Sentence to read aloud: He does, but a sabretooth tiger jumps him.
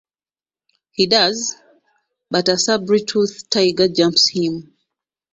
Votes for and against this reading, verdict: 0, 2, rejected